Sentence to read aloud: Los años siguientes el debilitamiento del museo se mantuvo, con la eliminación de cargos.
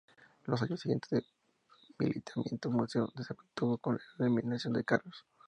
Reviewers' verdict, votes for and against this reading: rejected, 0, 2